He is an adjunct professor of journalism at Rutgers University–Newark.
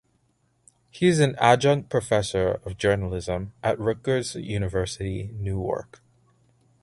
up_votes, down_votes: 2, 0